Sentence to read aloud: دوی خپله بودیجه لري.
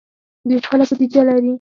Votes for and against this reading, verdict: 4, 2, accepted